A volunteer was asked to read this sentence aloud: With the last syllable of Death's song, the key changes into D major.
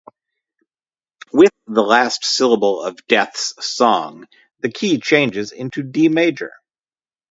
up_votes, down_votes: 4, 0